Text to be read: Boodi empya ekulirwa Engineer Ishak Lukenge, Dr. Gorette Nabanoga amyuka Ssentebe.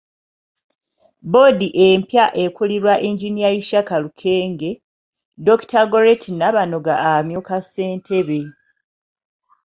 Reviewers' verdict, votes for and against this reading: accepted, 2, 0